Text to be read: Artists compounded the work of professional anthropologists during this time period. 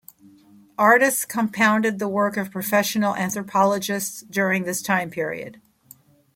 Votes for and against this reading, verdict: 2, 0, accepted